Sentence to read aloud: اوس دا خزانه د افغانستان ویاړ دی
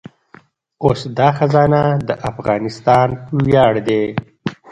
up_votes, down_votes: 0, 2